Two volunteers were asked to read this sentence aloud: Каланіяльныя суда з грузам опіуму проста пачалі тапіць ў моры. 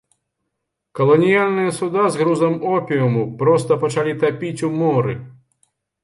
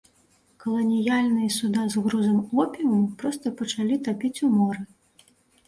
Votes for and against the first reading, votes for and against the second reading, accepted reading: 1, 2, 2, 0, second